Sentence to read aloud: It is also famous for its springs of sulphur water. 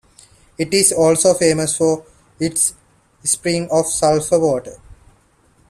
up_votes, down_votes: 2, 0